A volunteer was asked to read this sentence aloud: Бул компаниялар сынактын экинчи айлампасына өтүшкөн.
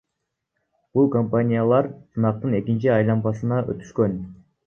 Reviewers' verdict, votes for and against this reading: accepted, 2, 0